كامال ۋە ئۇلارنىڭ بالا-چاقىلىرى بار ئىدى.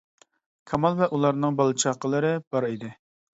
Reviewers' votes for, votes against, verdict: 2, 0, accepted